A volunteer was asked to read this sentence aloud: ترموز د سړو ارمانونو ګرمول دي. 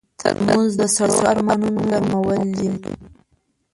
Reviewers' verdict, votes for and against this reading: rejected, 1, 2